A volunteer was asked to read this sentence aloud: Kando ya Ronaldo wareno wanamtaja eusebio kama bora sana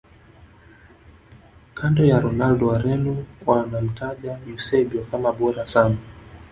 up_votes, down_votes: 2, 0